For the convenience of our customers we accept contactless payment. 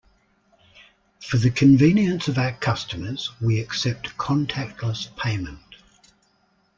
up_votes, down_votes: 2, 0